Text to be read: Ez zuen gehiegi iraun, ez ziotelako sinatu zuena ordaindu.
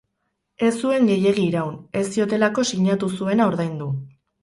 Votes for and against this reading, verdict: 8, 0, accepted